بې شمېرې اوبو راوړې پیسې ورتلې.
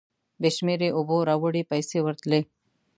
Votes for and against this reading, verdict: 2, 0, accepted